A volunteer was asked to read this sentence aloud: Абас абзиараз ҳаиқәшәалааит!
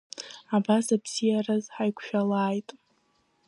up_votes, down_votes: 2, 0